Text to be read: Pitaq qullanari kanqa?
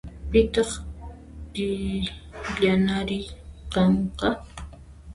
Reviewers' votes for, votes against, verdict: 0, 2, rejected